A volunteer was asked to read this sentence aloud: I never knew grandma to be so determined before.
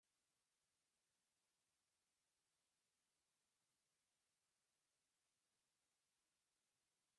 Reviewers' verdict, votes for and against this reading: rejected, 0, 2